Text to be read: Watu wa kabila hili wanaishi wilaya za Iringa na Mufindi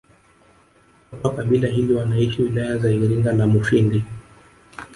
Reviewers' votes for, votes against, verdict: 2, 1, accepted